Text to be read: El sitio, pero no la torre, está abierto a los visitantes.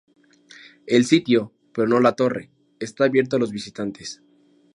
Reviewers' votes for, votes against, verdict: 2, 0, accepted